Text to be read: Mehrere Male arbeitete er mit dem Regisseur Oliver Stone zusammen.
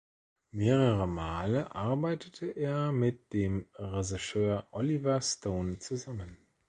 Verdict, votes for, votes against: accepted, 2, 0